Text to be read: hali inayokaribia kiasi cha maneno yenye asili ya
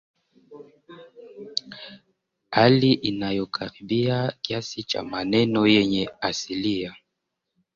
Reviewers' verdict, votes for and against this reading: rejected, 0, 2